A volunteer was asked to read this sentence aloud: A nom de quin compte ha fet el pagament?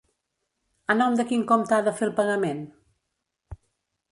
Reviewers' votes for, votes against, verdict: 0, 2, rejected